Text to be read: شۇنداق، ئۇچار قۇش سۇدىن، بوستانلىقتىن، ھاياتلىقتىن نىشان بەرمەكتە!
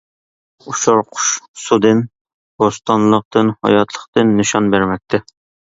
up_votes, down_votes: 0, 2